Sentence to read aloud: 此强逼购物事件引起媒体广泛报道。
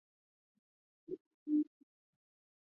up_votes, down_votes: 0, 2